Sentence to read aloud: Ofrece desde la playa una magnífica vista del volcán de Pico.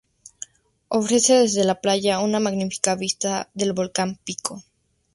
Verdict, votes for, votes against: accepted, 2, 0